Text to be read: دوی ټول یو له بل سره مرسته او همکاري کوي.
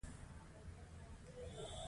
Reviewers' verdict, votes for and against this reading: accepted, 2, 1